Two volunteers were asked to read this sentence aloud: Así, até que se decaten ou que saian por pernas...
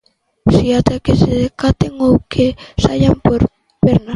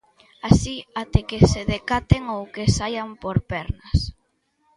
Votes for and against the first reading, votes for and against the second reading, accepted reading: 0, 2, 2, 0, second